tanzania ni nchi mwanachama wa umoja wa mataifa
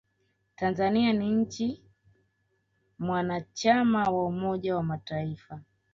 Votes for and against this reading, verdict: 2, 0, accepted